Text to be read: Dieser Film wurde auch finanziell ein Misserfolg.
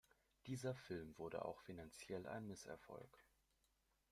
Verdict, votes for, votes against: accepted, 2, 0